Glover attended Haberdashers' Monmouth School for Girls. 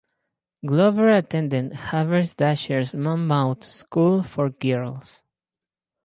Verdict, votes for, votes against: rejected, 2, 2